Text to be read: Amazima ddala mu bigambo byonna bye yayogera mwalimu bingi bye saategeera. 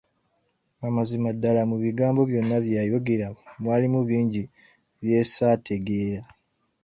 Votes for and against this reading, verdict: 2, 1, accepted